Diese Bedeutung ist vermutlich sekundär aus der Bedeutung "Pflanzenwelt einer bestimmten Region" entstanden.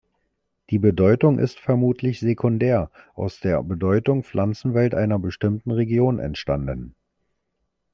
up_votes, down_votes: 0, 2